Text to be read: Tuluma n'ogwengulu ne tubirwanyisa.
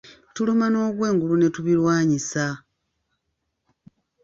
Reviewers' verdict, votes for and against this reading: rejected, 1, 2